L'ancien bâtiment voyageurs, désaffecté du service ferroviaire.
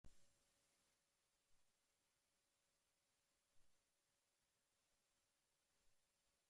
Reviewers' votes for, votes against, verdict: 0, 2, rejected